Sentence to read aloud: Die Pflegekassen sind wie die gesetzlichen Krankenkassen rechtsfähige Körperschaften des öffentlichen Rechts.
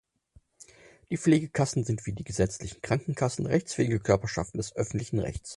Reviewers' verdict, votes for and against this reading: accepted, 4, 0